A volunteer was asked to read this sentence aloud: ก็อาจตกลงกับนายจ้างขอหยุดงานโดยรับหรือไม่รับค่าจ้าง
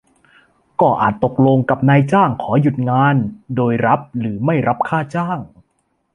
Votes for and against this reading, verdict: 2, 0, accepted